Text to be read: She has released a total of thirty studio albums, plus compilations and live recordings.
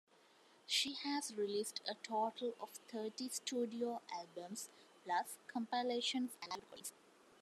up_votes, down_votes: 1, 2